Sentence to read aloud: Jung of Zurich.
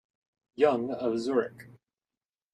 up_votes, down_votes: 2, 0